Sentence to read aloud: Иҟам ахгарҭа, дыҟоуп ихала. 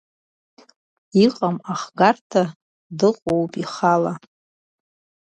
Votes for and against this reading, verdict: 2, 0, accepted